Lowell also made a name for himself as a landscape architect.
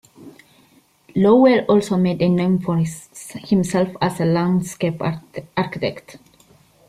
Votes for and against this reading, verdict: 0, 2, rejected